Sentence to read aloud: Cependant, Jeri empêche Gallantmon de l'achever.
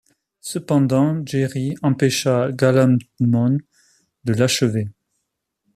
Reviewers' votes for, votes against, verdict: 0, 2, rejected